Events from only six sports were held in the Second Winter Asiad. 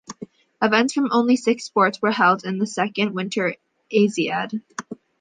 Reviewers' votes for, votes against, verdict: 2, 0, accepted